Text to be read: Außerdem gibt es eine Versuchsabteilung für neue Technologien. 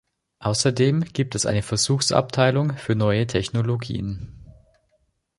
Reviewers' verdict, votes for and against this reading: accepted, 2, 0